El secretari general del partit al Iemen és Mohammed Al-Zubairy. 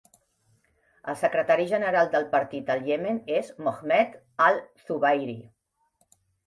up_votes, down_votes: 2, 0